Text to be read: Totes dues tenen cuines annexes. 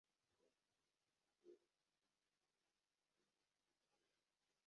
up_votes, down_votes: 0, 2